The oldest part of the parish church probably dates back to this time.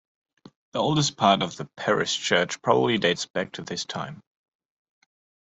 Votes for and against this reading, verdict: 2, 0, accepted